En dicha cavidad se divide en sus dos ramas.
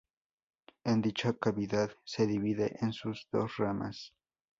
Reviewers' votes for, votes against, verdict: 0, 4, rejected